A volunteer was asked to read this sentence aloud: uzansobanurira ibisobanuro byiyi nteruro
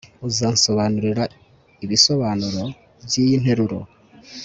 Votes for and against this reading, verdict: 2, 0, accepted